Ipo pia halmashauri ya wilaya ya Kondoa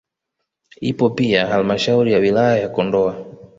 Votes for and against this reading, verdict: 1, 2, rejected